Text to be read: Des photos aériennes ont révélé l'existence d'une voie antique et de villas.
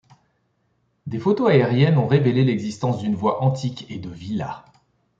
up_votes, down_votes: 2, 0